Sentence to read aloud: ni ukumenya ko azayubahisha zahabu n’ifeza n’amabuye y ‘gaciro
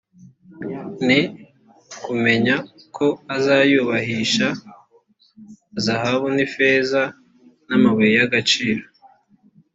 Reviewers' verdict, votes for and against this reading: accepted, 2, 0